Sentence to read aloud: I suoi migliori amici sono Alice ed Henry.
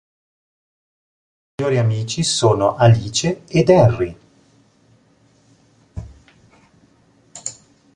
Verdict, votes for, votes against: rejected, 1, 2